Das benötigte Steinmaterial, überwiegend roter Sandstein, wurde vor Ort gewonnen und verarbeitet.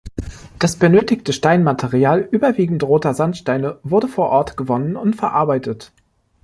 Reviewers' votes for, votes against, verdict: 0, 2, rejected